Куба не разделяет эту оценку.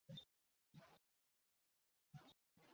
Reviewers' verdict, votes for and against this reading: rejected, 0, 2